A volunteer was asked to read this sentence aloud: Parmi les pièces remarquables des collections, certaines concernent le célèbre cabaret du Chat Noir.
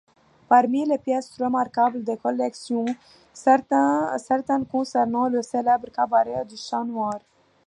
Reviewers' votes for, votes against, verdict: 0, 2, rejected